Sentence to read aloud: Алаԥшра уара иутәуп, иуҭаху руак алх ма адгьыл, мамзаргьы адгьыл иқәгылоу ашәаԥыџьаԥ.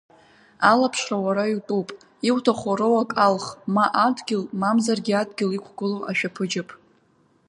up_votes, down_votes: 2, 0